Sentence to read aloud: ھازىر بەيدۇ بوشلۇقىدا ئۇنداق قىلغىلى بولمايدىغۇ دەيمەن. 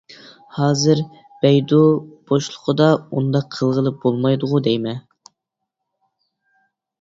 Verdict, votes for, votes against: accepted, 3, 0